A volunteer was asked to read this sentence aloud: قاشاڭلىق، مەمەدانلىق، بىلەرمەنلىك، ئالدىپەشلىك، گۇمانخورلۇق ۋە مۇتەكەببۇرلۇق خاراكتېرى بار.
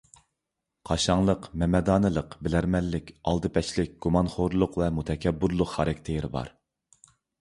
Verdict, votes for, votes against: accepted, 2, 0